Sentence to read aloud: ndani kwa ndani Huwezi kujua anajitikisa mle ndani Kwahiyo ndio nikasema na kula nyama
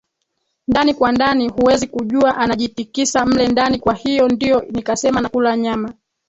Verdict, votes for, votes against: rejected, 0, 3